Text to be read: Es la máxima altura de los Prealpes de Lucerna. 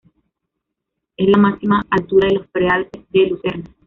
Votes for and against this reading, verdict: 2, 0, accepted